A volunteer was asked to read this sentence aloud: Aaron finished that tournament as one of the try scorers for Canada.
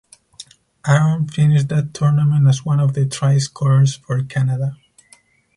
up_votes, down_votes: 6, 2